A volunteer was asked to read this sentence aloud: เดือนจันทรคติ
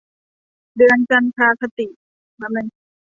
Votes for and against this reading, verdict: 1, 2, rejected